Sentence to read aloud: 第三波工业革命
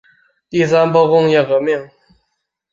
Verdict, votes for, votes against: accepted, 4, 2